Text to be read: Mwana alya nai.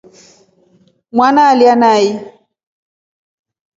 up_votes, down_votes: 3, 0